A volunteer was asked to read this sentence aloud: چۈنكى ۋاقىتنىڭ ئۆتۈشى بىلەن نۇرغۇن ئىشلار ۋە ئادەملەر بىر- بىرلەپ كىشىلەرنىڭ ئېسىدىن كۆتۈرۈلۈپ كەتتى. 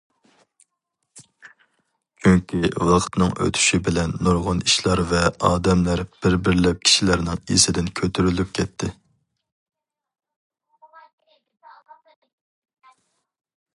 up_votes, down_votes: 2, 0